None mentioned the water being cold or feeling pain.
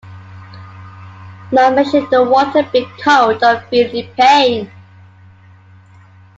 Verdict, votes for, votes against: rejected, 0, 2